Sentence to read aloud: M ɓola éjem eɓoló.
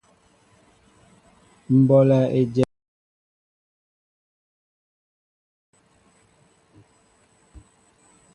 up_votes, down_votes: 0, 3